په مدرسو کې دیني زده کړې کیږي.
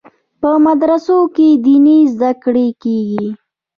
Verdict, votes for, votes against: accepted, 2, 1